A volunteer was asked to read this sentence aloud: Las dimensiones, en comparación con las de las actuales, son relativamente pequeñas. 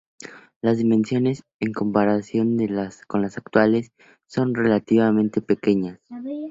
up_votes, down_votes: 0, 4